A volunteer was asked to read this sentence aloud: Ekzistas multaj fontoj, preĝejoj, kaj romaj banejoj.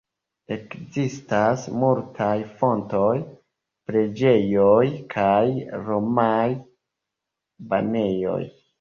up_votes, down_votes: 0, 2